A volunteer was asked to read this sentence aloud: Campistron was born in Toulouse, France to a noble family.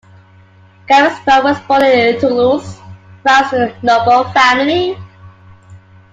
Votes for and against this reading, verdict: 0, 2, rejected